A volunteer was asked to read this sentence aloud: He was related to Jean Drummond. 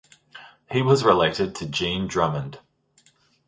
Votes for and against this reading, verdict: 2, 0, accepted